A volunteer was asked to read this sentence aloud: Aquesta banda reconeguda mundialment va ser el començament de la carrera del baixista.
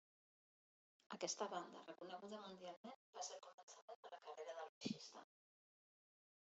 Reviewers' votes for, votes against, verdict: 0, 2, rejected